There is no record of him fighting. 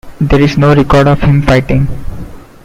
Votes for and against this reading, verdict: 2, 0, accepted